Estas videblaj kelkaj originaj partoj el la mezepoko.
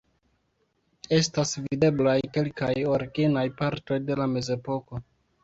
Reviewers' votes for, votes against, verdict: 1, 2, rejected